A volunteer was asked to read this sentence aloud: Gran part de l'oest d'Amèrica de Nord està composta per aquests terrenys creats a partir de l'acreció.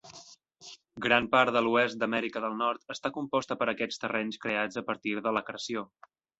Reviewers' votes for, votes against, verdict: 1, 2, rejected